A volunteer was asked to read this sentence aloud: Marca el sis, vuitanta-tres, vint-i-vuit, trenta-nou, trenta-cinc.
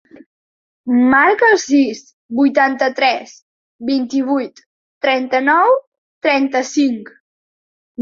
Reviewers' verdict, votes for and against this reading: accepted, 2, 0